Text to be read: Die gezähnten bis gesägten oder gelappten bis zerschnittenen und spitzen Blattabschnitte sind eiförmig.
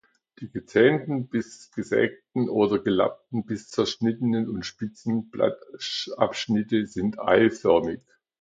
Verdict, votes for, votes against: rejected, 0, 2